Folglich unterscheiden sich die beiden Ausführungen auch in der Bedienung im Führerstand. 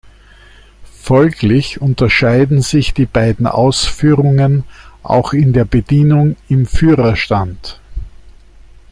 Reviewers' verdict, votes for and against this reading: accepted, 2, 0